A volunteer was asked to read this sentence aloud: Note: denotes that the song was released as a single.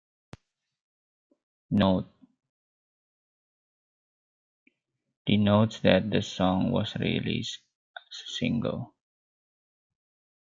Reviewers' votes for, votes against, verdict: 0, 2, rejected